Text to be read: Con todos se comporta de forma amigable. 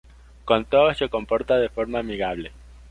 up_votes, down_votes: 2, 0